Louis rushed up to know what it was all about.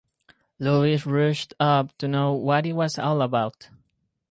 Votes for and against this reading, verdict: 0, 4, rejected